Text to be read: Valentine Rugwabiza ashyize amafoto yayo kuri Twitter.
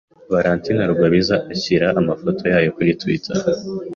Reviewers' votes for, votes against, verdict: 2, 0, accepted